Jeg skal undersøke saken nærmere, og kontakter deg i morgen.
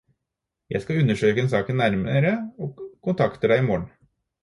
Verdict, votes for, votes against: rejected, 2, 4